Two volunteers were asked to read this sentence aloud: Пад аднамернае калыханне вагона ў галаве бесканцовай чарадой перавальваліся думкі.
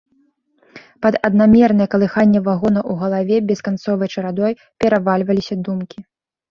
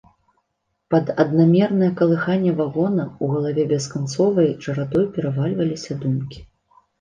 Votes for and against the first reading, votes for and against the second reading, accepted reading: 2, 0, 1, 2, first